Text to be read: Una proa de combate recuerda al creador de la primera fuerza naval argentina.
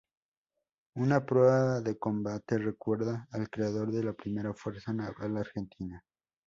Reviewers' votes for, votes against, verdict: 0, 2, rejected